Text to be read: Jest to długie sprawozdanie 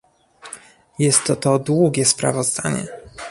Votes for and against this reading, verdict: 1, 2, rejected